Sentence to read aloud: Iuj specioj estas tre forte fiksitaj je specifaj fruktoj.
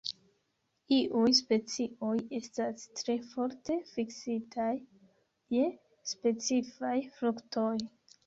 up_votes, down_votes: 2, 0